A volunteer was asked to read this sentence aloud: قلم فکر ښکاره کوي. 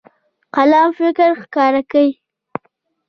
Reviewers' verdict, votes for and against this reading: accepted, 2, 0